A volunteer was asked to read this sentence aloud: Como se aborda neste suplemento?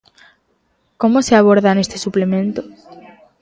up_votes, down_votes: 2, 0